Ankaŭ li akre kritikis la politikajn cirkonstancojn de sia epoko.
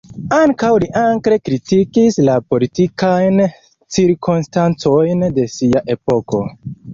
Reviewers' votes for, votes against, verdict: 1, 2, rejected